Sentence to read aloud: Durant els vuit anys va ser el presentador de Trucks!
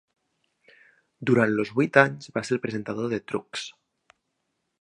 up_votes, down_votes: 1, 2